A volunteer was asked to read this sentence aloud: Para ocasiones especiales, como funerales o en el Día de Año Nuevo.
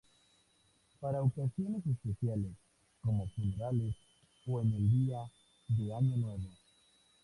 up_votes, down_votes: 2, 0